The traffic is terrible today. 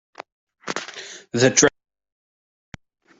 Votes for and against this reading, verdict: 0, 3, rejected